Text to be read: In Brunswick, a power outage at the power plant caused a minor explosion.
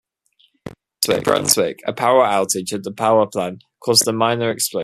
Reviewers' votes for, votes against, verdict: 0, 2, rejected